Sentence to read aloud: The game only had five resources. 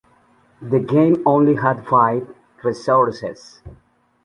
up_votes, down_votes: 2, 0